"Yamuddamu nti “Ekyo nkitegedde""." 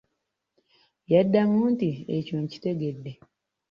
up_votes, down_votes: 0, 2